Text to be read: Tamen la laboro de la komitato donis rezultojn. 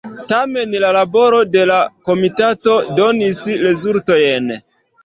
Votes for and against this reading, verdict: 2, 0, accepted